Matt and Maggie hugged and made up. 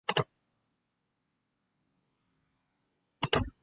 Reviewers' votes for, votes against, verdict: 0, 2, rejected